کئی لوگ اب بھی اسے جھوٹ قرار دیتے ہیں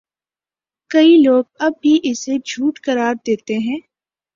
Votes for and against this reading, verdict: 3, 0, accepted